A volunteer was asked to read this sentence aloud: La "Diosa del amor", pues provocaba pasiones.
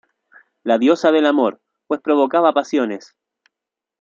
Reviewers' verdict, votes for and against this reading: accepted, 2, 0